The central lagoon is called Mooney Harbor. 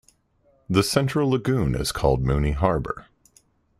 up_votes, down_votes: 2, 0